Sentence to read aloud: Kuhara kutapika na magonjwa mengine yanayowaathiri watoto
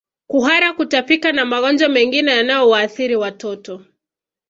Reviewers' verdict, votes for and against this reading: accepted, 2, 0